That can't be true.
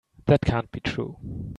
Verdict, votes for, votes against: accepted, 2, 0